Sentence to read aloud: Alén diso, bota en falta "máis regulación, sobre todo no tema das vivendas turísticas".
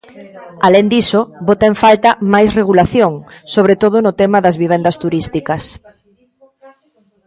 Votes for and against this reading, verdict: 1, 2, rejected